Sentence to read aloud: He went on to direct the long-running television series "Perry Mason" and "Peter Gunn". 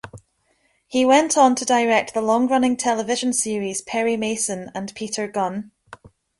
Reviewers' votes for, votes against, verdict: 2, 0, accepted